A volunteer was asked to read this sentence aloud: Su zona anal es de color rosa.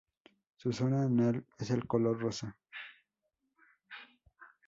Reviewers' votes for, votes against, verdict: 0, 2, rejected